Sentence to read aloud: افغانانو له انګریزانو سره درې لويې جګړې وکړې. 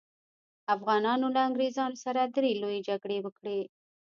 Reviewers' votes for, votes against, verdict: 2, 0, accepted